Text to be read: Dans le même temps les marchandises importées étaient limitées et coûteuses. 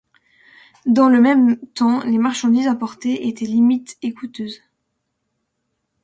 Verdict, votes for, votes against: rejected, 1, 2